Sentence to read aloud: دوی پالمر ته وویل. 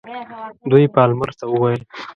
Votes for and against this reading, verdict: 2, 0, accepted